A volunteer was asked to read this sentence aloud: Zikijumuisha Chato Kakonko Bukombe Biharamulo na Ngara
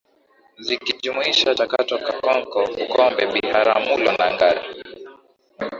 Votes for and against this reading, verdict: 8, 5, accepted